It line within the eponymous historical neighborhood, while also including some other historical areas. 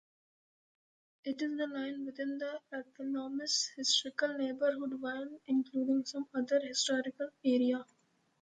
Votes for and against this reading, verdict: 1, 2, rejected